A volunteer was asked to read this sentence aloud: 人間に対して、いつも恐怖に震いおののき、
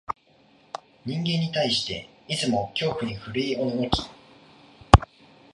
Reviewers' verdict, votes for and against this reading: accepted, 2, 0